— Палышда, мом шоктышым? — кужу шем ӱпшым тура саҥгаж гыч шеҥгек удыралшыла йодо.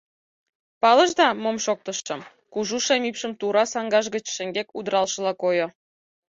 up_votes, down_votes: 2, 4